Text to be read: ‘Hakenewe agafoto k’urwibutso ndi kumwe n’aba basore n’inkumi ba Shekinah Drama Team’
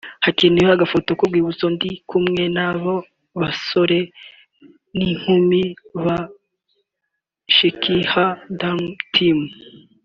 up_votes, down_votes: 1, 2